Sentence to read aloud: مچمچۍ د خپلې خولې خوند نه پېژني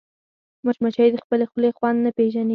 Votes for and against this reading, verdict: 2, 4, rejected